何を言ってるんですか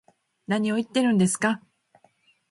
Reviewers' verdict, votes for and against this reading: rejected, 0, 2